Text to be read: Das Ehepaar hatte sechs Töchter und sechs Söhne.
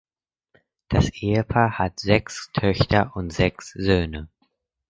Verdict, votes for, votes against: rejected, 2, 4